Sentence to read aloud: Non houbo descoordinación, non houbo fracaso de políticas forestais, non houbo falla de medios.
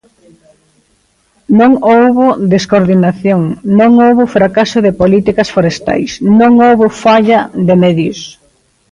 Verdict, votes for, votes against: accepted, 2, 0